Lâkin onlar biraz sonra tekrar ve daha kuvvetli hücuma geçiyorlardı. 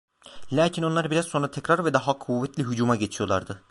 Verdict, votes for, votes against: rejected, 0, 2